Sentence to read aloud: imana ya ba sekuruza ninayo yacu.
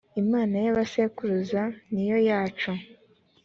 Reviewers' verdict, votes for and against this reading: accepted, 2, 1